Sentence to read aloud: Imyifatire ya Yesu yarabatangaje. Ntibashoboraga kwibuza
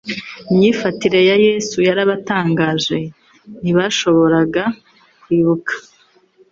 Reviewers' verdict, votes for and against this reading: rejected, 1, 2